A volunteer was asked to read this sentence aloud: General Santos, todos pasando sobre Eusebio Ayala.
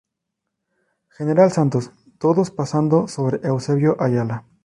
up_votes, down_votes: 2, 0